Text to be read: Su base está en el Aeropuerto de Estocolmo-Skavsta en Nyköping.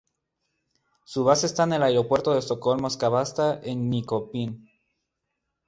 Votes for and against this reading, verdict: 10, 4, accepted